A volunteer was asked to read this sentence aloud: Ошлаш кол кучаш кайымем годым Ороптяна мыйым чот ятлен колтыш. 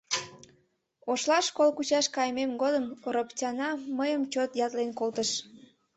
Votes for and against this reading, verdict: 2, 0, accepted